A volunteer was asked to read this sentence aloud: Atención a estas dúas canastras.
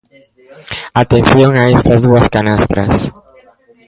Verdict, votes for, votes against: rejected, 1, 2